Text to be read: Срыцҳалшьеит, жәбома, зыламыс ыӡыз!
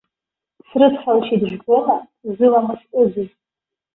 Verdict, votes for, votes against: rejected, 0, 2